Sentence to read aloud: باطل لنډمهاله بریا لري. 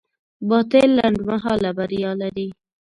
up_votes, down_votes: 1, 2